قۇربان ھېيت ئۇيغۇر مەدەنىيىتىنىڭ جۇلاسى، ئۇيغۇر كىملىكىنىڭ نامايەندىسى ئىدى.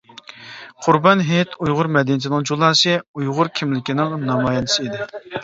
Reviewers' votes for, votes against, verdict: 2, 0, accepted